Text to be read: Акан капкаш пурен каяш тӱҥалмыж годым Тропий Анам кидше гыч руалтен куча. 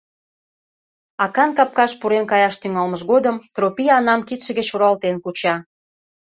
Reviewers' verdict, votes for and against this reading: accepted, 2, 0